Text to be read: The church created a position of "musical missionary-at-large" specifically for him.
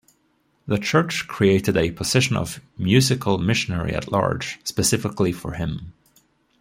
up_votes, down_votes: 2, 1